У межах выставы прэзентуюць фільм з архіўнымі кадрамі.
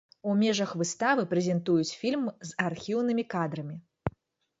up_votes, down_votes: 2, 0